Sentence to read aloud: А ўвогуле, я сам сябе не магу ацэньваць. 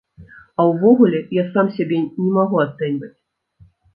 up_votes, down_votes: 2, 0